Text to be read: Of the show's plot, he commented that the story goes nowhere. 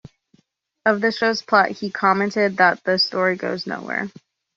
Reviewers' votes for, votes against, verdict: 2, 0, accepted